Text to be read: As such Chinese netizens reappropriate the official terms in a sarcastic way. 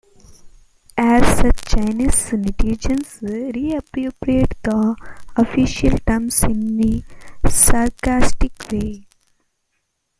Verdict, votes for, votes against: rejected, 1, 2